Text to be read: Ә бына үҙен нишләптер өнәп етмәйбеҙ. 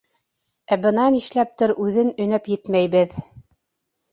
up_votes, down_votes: 1, 2